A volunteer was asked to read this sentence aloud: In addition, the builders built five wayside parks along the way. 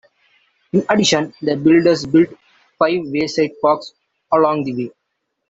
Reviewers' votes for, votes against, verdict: 1, 2, rejected